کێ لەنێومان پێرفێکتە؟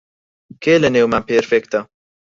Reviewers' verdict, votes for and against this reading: rejected, 2, 4